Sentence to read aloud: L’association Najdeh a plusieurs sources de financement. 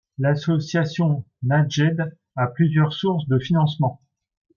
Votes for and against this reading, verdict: 1, 2, rejected